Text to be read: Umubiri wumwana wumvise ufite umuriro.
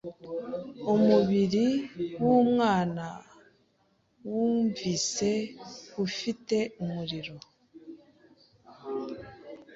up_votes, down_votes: 3, 0